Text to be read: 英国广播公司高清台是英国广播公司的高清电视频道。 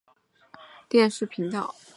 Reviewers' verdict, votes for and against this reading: rejected, 1, 2